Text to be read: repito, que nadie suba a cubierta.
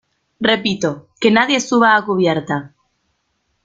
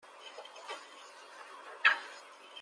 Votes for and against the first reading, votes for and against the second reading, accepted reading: 2, 0, 0, 2, first